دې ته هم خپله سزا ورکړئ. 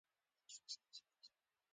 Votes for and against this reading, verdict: 1, 2, rejected